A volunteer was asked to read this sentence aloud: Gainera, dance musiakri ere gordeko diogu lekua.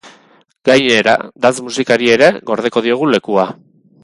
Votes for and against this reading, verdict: 2, 2, rejected